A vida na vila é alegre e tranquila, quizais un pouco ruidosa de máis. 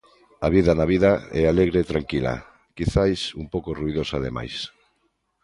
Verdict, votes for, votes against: rejected, 0, 2